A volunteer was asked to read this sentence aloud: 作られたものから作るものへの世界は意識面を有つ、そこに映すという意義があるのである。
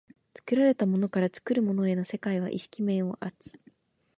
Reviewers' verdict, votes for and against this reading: rejected, 1, 2